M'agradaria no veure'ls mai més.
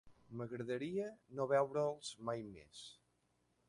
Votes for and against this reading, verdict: 3, 0, accepted